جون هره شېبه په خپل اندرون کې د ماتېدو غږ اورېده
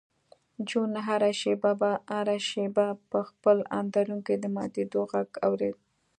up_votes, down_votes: 1, 2